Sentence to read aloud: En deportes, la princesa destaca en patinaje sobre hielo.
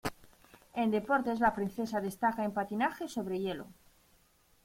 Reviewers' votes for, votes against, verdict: 2, 0, accepted